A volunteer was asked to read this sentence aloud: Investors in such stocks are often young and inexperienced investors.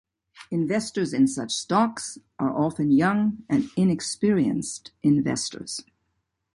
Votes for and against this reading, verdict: 2, 0, accepted